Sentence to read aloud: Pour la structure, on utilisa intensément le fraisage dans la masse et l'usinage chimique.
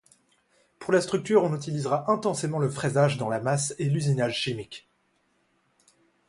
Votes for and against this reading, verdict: 1, 2, rejected